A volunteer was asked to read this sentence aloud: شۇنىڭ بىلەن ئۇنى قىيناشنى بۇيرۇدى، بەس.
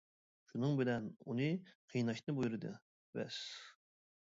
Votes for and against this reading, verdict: 2, 1, accepted